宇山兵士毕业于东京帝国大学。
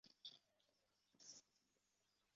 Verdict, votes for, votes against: rejected, 0, 2